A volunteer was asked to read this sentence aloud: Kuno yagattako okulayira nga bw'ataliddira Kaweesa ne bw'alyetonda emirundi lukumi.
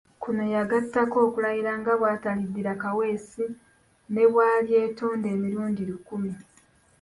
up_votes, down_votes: 1, 3